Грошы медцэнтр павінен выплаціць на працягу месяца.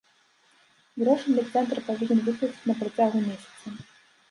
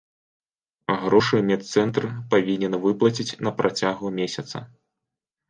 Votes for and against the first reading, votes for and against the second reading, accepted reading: 0, 2, 2, 0, second